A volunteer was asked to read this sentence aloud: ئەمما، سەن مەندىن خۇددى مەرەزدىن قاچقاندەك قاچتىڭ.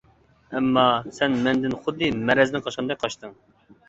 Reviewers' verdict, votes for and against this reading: accepted, 2, 0